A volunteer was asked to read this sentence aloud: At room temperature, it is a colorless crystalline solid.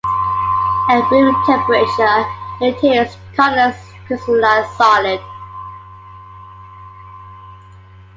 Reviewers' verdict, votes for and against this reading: rejected, 0, 2